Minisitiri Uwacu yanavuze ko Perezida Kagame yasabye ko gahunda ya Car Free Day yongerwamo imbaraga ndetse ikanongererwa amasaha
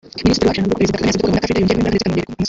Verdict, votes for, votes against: rejected, 0, 2